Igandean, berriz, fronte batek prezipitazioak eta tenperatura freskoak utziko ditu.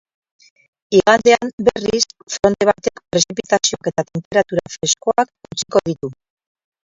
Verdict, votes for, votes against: rejected, 0, 6